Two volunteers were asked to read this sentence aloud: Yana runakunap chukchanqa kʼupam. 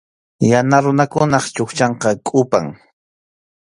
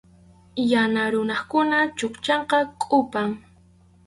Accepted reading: first